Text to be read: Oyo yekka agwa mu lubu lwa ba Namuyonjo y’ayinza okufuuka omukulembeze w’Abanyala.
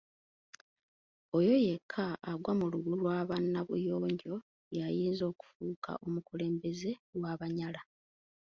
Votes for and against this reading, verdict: 1, 2, rejected